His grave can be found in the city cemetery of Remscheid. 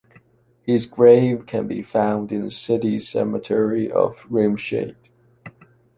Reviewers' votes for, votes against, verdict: 2, 0, accepted